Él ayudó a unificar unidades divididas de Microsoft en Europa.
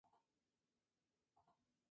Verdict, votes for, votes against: rejected, 0, 2